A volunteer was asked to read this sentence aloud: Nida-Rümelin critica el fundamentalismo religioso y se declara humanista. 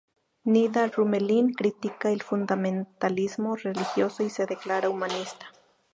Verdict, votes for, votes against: accepted, 2, 0